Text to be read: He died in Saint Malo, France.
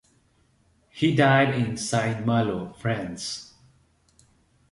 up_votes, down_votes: 2, 0